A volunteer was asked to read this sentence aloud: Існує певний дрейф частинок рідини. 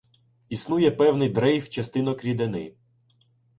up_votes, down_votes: 2, 0